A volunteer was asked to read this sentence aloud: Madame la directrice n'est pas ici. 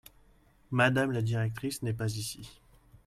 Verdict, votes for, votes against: accepted, 2, 0